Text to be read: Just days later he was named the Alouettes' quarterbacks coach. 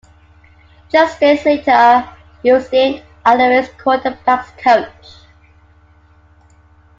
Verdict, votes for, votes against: accepted, 2, 1